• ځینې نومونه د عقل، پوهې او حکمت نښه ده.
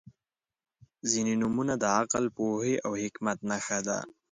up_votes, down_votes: 2, 0